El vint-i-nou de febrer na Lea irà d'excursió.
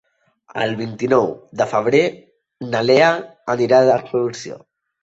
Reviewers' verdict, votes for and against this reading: rejected, 1, 2